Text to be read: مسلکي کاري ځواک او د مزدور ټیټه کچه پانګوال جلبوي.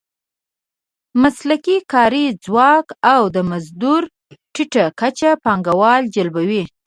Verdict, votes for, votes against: accepted, 2, 0